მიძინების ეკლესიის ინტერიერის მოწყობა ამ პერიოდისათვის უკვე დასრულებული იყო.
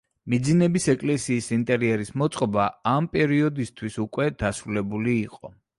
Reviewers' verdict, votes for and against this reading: accepted, 3, 1